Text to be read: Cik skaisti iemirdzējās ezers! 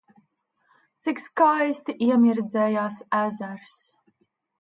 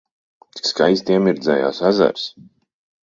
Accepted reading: first